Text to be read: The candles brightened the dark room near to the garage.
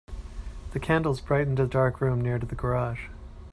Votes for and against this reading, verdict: 2, 0, accepted